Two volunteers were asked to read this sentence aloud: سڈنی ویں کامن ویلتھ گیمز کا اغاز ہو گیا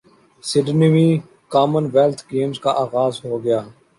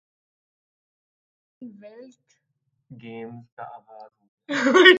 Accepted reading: first